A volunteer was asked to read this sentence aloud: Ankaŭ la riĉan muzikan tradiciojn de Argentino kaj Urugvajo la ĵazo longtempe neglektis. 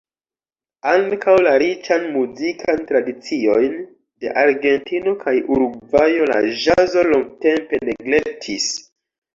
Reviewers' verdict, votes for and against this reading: accepted, 2, 1